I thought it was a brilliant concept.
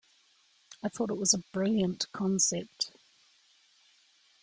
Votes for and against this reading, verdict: 2, 0, accepted